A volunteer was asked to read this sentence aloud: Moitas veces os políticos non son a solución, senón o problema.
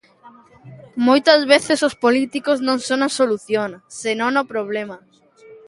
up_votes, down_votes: 2, 1